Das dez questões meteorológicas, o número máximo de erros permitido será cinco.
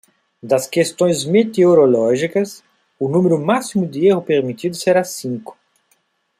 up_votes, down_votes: 0, 2